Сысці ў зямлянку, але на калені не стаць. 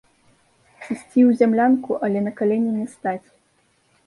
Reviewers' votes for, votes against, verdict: 1, 2, rejected